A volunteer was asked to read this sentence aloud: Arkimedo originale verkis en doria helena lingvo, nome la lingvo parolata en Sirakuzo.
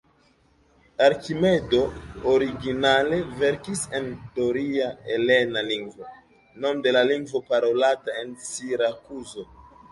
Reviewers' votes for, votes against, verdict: 1, 2, rejected